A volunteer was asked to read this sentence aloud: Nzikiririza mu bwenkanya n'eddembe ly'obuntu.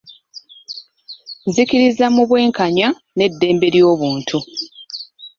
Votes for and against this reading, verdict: 2, 0, accepted